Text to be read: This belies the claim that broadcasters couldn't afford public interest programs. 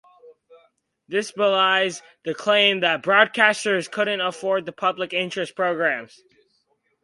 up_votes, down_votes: 2, 0